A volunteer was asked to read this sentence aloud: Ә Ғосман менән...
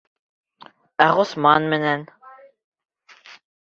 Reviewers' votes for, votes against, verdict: 1, 2, rejected